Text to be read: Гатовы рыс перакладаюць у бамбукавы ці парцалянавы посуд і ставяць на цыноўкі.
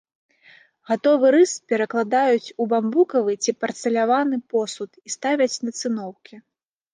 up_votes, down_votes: 2, 0